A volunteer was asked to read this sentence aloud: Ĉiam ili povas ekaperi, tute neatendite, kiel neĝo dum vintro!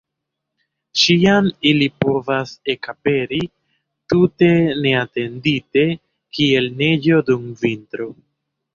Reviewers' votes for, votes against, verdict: 0, 2, rejected